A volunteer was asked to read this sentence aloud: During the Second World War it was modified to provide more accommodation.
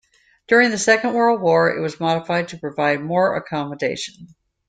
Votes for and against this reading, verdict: 2, 0, accepted